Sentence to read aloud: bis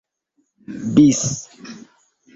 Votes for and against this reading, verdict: 3, 1, accepted